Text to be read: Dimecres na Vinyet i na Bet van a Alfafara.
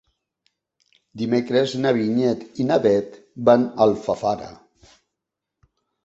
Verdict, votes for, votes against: accepted, 2, 0